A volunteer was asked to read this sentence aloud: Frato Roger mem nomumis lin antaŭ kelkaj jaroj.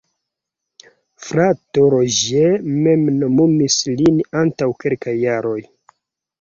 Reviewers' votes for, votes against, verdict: 0, 2, rejected